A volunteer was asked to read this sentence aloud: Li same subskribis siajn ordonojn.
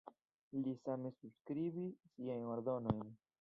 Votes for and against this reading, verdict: 0, 2, rejected